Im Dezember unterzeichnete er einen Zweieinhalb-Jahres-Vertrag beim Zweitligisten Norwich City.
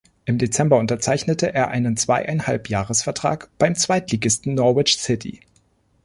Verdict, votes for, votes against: accepted, 2, 0